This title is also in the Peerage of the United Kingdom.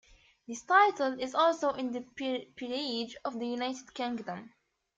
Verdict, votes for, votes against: rejected, 0, 2